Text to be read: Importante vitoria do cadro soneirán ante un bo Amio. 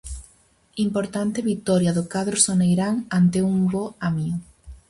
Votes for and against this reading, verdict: 4, 0, accepted